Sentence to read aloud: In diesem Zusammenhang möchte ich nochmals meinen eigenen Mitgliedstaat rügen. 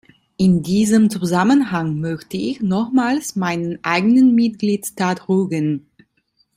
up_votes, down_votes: 2, 0